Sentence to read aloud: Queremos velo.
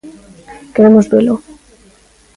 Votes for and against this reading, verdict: 3, 0, accepted